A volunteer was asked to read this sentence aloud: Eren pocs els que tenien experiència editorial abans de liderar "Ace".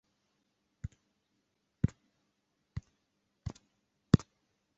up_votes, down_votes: 0, 2